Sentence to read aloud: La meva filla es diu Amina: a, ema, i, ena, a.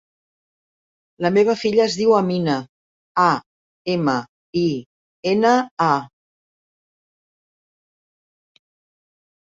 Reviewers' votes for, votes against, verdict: 2, 0, accepted